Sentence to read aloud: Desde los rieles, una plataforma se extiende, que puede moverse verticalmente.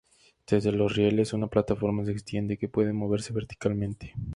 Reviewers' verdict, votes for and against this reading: accepted, 2, 0